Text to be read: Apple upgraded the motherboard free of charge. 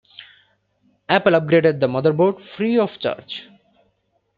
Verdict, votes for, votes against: accepted, 2, 0